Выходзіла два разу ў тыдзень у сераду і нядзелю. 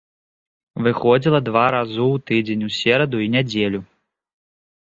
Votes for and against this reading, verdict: 2, 0, accepted